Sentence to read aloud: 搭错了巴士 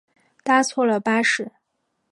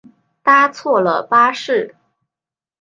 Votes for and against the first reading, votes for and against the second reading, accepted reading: 0, 2, 2, 0, second